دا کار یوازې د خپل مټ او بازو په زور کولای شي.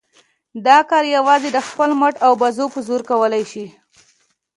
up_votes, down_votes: 2, 0